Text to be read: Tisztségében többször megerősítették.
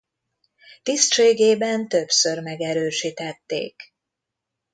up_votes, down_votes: 2, 0